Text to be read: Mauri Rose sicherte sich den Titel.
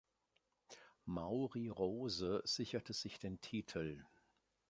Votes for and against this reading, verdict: 2, 0, accepted